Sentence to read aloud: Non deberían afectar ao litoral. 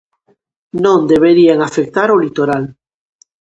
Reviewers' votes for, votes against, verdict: 2, 0, accepted